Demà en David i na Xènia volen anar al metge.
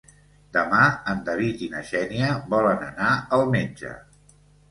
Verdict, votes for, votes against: accepted, 2, 0